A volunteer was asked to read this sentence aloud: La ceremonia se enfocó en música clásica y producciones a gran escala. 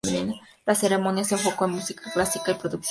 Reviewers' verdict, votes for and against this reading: rejected, 0, 2